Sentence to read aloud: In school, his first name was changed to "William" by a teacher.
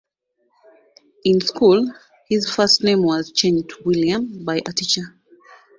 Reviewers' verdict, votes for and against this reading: rejected, 1, 2